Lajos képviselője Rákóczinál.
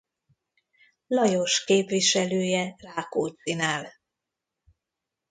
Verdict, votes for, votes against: rejected, 1, 2